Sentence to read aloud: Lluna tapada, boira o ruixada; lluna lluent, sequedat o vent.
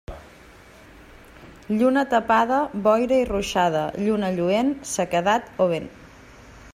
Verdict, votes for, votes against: rejected, 1, 2